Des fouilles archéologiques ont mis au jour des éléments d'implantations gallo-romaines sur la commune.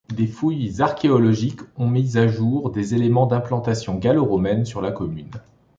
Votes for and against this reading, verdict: 1, 2, rejected